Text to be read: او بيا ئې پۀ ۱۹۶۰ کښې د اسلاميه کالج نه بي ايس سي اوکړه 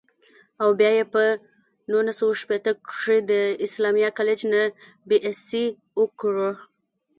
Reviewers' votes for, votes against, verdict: 0, 2, rejected